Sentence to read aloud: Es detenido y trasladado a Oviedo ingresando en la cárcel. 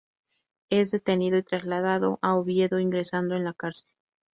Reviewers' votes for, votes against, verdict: 2, 0, accepted